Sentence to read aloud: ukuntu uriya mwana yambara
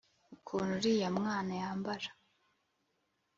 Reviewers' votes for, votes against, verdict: 2, 0, accepted